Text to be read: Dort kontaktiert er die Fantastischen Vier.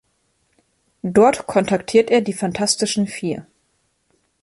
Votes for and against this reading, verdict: 2, 0, accepted